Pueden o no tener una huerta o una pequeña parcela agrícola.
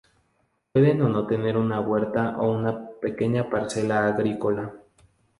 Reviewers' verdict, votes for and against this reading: accepted, 4, 0